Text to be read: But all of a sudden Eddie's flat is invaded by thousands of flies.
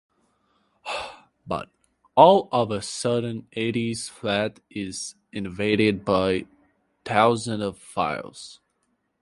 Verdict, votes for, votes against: rejected, 0, 2